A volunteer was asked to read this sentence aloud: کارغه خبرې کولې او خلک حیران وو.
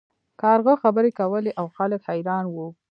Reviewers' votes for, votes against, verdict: 1, 2, rejected